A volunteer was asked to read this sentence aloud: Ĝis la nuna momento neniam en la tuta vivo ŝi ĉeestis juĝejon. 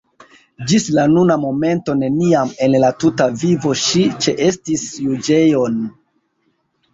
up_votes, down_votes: 1, 2